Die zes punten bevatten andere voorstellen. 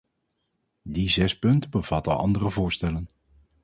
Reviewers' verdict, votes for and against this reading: rejected, 2, 2